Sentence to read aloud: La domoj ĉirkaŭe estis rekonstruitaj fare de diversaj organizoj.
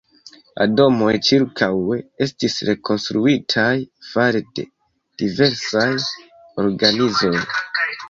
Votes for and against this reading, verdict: 1, 2, rejected